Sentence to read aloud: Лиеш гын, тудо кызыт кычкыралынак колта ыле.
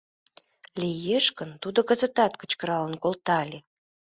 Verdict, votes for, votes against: rejected, 1, 2